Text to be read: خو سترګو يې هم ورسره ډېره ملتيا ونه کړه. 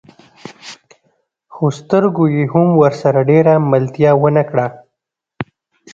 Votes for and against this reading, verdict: 2, 0, accepted